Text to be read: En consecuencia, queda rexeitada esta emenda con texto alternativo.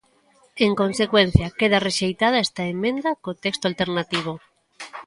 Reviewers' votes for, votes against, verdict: 2, 1, accepted